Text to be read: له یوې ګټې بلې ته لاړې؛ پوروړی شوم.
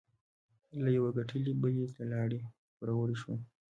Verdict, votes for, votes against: rejected, 1, 2